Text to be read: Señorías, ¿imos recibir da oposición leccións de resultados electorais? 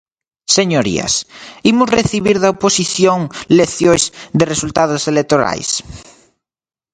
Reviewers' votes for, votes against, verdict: 4, 0, accepted